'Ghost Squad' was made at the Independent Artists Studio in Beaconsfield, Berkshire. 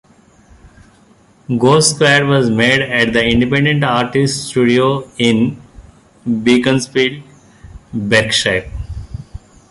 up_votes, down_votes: 1, 2